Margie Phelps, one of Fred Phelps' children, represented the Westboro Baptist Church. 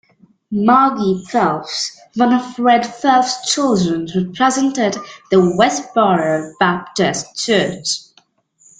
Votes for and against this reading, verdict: 1, 2, rejected